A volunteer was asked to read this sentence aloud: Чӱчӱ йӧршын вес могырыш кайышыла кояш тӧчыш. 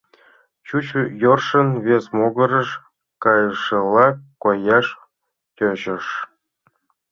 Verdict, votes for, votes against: accepted, 2, 1